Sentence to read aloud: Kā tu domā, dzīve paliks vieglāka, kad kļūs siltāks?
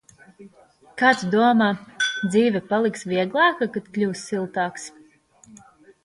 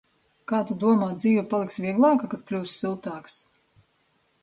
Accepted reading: second